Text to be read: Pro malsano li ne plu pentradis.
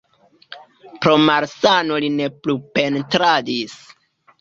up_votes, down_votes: 2, 1